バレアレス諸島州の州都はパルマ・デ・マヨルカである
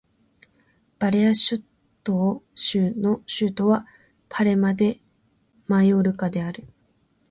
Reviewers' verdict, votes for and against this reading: rejected, 1, 2